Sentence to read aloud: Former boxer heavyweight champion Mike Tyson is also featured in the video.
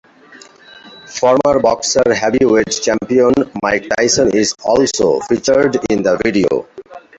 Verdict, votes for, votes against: rejected, 1, 2